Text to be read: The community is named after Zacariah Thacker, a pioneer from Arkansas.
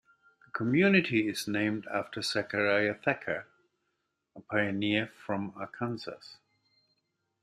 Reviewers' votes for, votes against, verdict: 1, 2, rejected